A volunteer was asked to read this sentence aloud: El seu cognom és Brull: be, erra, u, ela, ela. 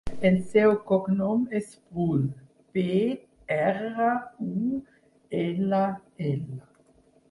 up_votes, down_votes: 4, 6